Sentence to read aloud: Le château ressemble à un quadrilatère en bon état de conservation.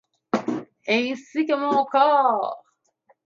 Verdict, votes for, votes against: rejected, 0, 2